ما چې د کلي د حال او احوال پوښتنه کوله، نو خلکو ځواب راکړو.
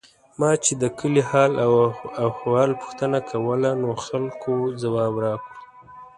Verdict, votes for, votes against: rejected, 1, 2